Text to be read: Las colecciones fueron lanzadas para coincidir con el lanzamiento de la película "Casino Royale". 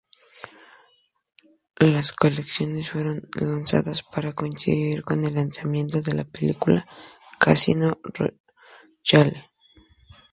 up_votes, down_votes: 0, 2